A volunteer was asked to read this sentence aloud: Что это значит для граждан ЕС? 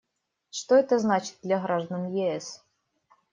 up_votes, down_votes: 2, 0